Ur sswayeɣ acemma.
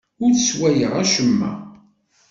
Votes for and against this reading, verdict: 2, 0, accepted